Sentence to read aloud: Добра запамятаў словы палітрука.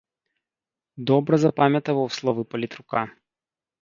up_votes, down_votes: 0, 2